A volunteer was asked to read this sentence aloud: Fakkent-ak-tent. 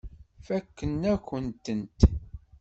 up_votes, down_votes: 1, 2